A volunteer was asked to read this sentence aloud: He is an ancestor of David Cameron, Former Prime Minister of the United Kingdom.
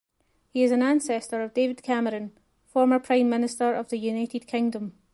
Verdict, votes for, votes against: accepted, 2, 0